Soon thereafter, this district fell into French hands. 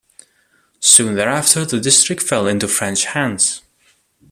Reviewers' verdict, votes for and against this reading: rejected, 1, 2